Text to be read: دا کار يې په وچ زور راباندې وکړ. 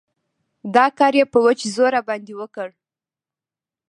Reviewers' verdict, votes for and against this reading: rejected, 1, 2